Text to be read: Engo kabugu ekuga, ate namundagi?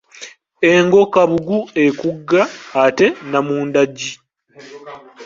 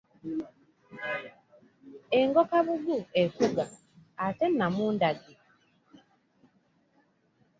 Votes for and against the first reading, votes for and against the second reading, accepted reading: 1, 2, 2, 0, second